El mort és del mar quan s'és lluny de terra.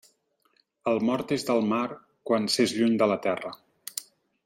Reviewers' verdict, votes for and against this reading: rejected, 1, 4